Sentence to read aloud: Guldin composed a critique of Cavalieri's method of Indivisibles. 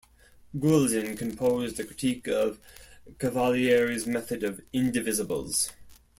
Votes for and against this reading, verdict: 2, 0, accepted